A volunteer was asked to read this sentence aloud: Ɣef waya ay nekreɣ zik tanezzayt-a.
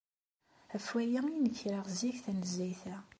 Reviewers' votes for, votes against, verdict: 2, 0, accepted